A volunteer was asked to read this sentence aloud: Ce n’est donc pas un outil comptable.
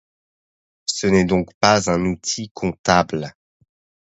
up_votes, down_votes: 2, 0